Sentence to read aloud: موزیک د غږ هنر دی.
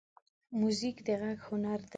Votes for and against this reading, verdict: 2, 0, accepted